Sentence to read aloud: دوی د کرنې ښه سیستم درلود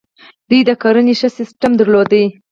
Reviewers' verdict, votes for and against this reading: rejected, 2, 4